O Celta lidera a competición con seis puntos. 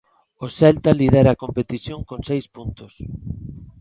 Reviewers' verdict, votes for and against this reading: accepted, 2, 0